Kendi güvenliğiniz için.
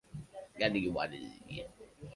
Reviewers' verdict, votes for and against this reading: rejected, 0, 2